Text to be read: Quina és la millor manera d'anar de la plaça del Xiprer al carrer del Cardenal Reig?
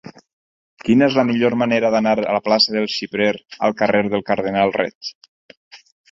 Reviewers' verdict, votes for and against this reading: accepted, 6, 0